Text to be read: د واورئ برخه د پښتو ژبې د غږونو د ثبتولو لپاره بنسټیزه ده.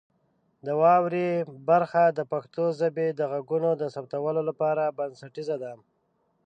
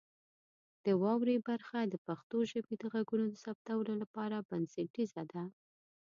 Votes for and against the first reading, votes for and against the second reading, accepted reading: 1, 2, 2, 0, second